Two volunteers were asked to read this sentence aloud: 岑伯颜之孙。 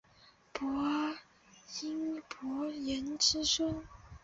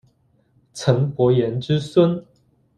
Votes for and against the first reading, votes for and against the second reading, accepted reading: 0, 3, 2, 0, second